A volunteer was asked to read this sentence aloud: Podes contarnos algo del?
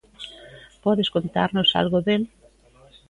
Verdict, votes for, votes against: accepted, 2, 0